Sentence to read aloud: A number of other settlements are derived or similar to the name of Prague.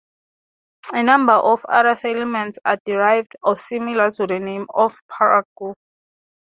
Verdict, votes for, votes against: rejected, 0, 3